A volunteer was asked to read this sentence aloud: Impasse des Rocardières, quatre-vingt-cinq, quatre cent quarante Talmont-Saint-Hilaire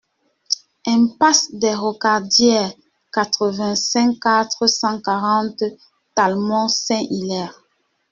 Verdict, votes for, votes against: accepted, 2, 1